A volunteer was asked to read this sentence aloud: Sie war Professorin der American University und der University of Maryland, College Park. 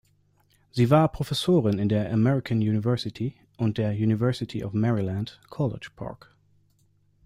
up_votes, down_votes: 2, 1